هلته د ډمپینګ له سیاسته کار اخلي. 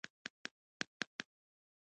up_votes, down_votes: 1, 3